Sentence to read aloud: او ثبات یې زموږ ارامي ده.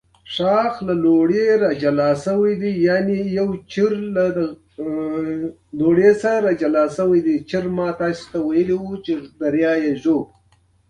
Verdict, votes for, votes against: rejected, 0, 2